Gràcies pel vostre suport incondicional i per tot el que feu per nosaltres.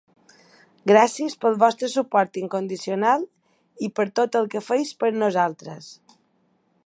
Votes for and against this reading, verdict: 1, 2, rejected